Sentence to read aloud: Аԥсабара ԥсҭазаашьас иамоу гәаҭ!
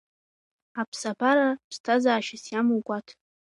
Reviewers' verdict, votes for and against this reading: accepted, 2, 0